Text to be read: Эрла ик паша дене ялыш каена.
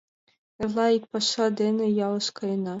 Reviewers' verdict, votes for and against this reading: accepted, 2, 0